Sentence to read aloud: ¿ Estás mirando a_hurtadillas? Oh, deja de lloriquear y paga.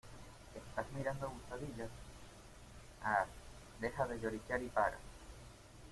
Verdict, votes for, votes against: rejected, 0, 2